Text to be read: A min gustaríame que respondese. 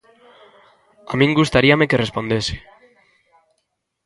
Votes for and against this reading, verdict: 1, 2, rejected